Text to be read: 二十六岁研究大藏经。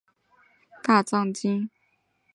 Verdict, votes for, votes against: rejected, 2, 5